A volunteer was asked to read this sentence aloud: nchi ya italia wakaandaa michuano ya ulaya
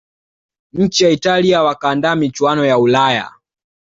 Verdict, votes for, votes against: accepted, 2, 0